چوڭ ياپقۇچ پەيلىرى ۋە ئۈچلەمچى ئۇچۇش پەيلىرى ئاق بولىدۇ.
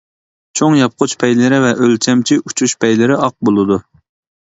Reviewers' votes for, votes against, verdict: 1, 2, rejected